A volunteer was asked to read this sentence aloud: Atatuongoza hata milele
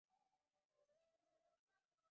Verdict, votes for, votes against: rejected, 1, 8